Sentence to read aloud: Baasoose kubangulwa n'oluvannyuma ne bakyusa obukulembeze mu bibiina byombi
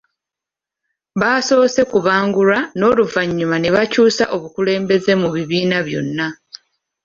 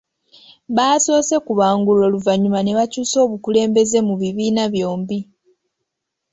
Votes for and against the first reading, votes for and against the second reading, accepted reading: 0, 2, 2, 0, second